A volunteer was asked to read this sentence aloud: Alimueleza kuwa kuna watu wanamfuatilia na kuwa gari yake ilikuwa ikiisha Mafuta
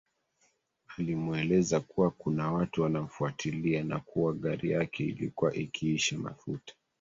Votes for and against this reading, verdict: 1, 2, rejected